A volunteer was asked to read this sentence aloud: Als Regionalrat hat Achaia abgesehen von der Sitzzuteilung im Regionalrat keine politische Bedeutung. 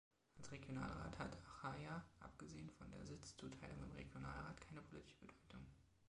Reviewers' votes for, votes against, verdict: 2, 1, accepted